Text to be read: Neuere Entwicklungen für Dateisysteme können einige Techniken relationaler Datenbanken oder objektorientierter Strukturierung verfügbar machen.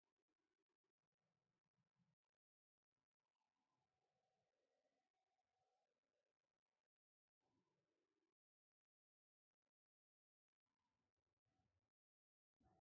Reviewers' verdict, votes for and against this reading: rejected, 0, 2